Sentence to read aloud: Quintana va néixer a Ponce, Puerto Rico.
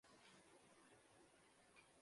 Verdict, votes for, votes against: rejected, 0, 3